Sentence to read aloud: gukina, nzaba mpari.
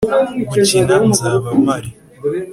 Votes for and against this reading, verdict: 2, 0, accepted